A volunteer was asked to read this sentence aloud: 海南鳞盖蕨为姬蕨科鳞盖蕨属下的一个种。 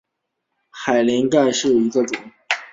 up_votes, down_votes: 0, 2